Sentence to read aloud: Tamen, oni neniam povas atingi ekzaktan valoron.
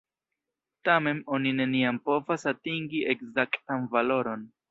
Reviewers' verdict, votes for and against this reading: rejected, 0, 2